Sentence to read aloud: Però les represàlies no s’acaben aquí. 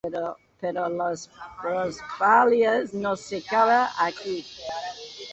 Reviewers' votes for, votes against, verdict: 0, 4, rejected